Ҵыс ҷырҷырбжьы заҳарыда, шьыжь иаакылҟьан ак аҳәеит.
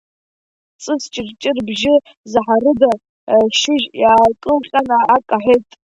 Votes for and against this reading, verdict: 0, 2, rejected